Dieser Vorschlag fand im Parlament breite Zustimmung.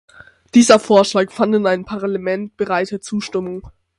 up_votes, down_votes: 0, 6